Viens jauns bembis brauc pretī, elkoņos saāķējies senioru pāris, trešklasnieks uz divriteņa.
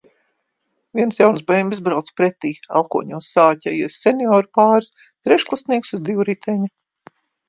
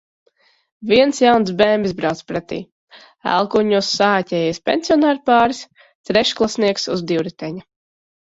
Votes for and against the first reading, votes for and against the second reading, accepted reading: 2, 0, 0, 2, first